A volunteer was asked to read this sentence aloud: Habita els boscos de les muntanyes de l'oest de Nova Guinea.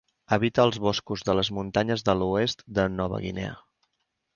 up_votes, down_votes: 2, 0